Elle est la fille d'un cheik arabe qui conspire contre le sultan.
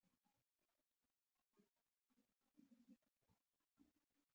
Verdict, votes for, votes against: rejected, 1, 2